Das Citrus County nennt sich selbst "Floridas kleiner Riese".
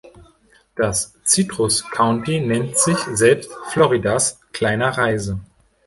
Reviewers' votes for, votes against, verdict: 0, 2, rejected